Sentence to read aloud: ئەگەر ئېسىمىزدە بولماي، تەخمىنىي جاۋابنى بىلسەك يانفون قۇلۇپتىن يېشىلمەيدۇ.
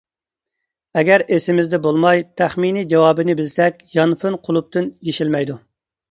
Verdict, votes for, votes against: rejected, 0, 2